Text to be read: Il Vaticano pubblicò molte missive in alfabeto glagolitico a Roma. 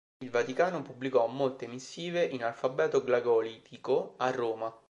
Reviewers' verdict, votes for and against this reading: rejected, 1, 2